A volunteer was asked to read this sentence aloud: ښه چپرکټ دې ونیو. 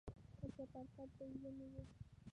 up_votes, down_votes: 0, 2